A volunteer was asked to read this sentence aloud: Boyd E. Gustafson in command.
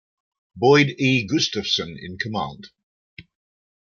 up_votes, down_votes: 2, 1